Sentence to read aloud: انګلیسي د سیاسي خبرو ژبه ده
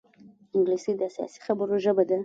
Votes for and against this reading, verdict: 1, 2, rejected